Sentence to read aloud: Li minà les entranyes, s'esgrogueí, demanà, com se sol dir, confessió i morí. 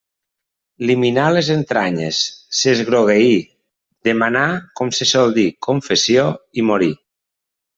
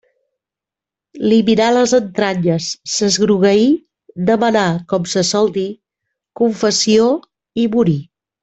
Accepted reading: first